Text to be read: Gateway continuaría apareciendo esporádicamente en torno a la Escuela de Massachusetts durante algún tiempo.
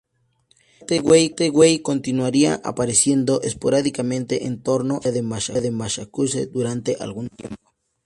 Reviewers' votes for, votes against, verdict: 0, 4, rejected